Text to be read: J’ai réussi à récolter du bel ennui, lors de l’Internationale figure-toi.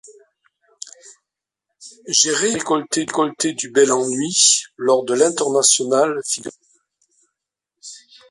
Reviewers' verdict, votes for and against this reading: rejected, 0, 3